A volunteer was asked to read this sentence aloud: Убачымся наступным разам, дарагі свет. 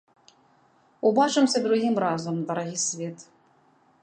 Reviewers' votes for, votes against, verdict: 1, 2, rejected